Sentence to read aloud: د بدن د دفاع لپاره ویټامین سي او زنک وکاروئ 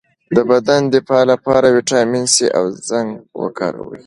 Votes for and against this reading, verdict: 2, 0, accepted